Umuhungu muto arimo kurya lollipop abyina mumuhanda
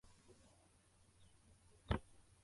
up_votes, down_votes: 0, 2